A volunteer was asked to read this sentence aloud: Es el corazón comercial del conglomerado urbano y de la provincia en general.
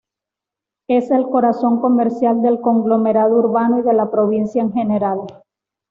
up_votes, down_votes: 2, 0